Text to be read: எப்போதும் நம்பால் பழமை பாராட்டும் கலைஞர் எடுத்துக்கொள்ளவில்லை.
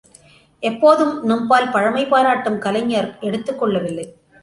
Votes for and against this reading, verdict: 3, 0, accepted